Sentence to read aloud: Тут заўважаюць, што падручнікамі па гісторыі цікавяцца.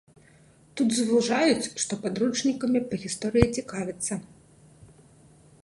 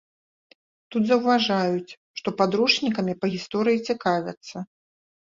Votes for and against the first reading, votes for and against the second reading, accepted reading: 0, 2, 2, 0, second